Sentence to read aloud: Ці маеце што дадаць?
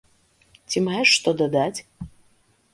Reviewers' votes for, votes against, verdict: 1, 2, rejected